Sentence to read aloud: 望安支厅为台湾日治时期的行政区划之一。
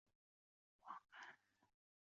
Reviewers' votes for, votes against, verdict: 0, 2, rejected